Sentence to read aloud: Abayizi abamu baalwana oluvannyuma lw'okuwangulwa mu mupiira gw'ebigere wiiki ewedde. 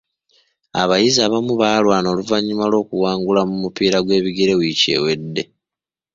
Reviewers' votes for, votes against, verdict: 2, 0, accepted